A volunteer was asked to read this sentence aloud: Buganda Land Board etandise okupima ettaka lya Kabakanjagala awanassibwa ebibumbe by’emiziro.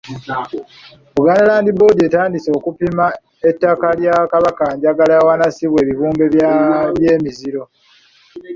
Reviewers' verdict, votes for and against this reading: rejected, 0, 2